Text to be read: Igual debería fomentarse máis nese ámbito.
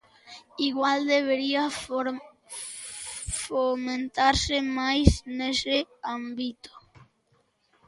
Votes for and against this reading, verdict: 0, 2, rejected